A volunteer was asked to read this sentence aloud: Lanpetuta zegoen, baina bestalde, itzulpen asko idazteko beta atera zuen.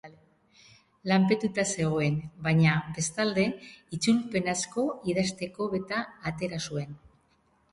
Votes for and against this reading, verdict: 2, 0, accepted